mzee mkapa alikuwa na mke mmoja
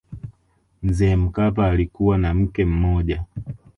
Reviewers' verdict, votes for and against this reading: rejected, 1, 2